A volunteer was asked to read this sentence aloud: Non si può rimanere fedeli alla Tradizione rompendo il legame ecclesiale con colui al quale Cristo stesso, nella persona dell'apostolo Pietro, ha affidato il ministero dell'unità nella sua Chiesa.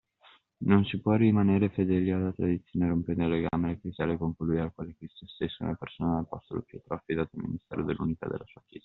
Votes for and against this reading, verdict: 1, 2, rejected